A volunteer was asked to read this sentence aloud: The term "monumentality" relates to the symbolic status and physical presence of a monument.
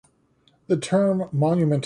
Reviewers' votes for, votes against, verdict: 1, 2, rejected